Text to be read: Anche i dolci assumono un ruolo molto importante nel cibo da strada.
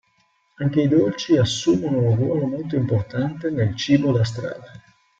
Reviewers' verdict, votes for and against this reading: accepted, 3, 0